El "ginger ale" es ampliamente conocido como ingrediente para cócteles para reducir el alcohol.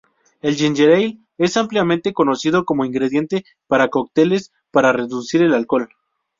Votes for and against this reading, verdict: 0, 2, rejected